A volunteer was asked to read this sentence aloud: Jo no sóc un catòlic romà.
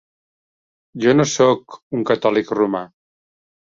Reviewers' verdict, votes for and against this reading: accepted, 3, 0